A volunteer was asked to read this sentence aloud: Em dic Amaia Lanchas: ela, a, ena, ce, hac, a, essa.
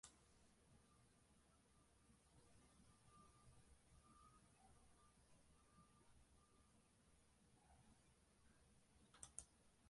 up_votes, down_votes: 0, 2